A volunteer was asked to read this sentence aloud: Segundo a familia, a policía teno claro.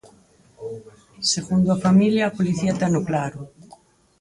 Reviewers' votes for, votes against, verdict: 0, 4, rejected